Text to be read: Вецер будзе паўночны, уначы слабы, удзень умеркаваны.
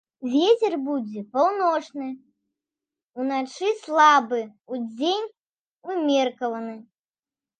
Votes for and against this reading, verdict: 0, 2, rejected